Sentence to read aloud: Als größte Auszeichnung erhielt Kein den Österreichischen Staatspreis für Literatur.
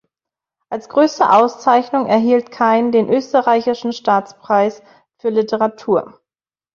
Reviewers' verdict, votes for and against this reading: accepted, 2, 0